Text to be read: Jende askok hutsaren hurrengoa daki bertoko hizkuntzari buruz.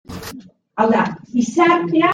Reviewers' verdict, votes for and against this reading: rejected, 0, 2